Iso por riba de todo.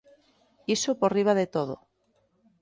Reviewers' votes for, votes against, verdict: 2, 0, accepted